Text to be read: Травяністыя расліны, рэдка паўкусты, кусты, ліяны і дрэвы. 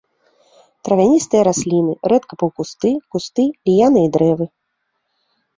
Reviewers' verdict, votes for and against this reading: accepted, 2, 0